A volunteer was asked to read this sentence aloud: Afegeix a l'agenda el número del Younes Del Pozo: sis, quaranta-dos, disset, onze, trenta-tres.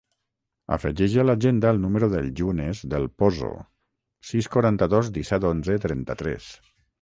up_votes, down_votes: 3, 3